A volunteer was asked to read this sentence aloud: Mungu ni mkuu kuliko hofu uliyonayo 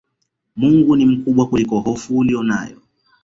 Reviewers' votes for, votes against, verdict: 0, 2, rejected